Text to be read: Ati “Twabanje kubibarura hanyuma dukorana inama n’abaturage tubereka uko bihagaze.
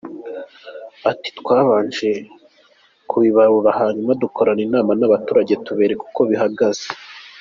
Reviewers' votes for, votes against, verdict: 2, 0, accepted